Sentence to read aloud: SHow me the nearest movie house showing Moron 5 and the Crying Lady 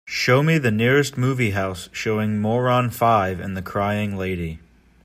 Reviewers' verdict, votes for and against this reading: rejected, 0, 2